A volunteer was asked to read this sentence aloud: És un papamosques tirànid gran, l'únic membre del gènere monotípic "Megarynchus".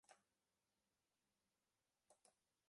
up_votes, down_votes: 0, 2